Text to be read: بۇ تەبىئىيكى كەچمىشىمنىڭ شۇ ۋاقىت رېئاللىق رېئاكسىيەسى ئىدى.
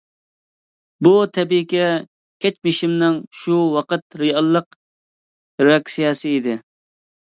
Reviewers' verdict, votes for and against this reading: accepted, 2, 0